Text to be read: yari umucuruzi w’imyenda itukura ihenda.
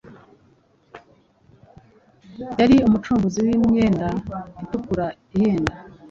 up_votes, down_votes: 2, 1